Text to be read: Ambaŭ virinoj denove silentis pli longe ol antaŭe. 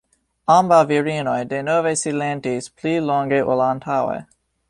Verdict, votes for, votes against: rejected, 1, 2